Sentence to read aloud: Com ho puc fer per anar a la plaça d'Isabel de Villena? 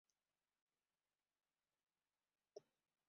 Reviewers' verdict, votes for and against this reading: rejected, 0, 2